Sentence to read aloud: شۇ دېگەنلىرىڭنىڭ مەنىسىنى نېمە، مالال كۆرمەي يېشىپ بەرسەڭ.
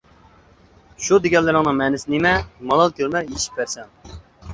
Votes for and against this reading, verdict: 1, 2, rejected